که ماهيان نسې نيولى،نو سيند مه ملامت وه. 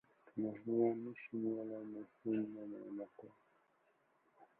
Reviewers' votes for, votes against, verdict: 0, 2, rejected